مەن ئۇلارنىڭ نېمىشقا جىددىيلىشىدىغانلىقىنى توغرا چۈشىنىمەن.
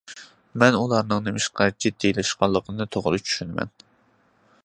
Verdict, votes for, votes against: accepted, 2, 0